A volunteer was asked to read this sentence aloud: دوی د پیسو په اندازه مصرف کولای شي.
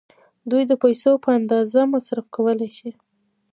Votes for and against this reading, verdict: 0, 2, rejected